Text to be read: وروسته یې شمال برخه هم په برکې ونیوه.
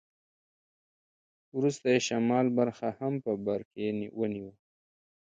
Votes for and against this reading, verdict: 1, 2, rejected